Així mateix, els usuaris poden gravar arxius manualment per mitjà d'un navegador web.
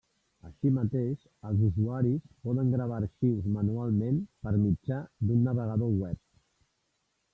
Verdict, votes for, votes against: accepted, 2, 1